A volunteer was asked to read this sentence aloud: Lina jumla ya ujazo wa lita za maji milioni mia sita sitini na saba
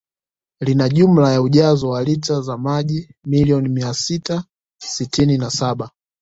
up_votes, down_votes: 1, 2